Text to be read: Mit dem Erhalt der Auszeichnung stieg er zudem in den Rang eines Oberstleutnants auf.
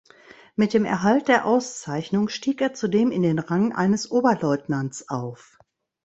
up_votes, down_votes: 1, 3